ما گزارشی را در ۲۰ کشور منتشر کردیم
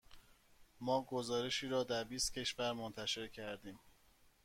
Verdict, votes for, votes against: rejected, 0, 2